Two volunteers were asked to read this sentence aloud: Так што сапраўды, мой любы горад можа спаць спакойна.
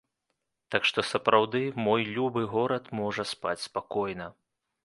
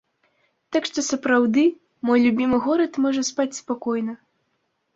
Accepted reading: first